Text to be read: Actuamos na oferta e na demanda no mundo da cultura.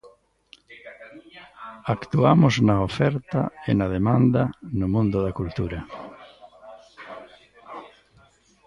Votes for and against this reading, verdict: 0, 2, rejected